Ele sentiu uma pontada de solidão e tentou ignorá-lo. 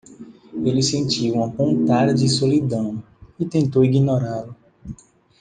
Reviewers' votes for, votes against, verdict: 2, 1, accepted